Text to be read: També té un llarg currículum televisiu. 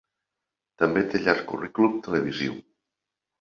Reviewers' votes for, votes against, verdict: 1, 2, rejected